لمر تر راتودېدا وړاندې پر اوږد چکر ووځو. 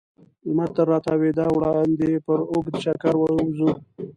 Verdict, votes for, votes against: rejected, 1, 2